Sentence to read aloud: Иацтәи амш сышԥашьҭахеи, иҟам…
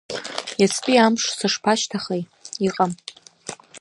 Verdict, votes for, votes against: accepted, 2, 1